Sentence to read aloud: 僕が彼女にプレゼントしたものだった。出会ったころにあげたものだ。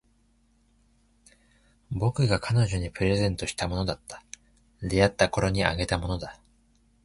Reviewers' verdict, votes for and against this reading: accepted, 4, 0